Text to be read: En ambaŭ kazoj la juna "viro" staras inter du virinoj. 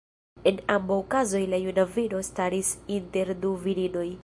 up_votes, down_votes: 1, 2